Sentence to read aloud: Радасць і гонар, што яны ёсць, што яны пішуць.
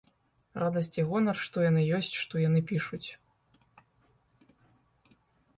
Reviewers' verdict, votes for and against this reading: accepted, 2, 0